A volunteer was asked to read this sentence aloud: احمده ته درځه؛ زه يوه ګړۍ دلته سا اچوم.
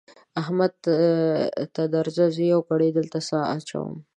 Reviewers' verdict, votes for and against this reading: rejected, 0, 2